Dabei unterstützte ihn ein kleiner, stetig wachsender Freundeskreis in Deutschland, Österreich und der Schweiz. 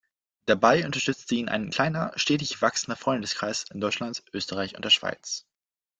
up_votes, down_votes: 2, 0